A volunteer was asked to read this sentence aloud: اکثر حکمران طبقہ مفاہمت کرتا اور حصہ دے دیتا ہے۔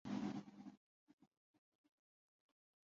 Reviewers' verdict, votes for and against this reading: rejected, 0, 2